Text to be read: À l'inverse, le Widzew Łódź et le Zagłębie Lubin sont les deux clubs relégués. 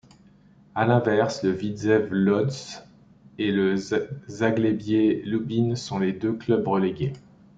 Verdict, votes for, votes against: rejected, 1, 2